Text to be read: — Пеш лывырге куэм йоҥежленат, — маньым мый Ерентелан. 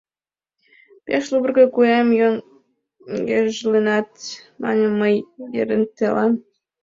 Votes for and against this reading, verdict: 0, 2, rejected